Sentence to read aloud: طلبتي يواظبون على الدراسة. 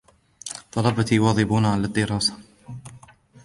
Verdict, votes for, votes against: accepted, 2, 0